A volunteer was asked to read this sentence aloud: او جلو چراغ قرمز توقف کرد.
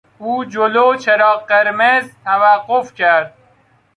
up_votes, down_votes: 2, 0